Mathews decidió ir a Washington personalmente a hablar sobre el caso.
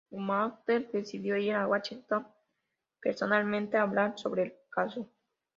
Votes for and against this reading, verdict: 0, 2, rejected